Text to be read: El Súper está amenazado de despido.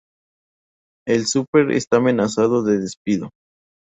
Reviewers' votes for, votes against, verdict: 2, 2, rejected